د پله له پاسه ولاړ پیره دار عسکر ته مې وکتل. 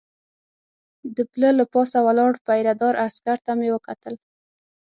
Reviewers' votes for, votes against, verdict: 6, 0, accepted